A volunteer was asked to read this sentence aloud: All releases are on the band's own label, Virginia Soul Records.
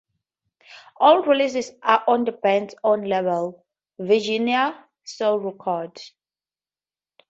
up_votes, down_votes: 2, 0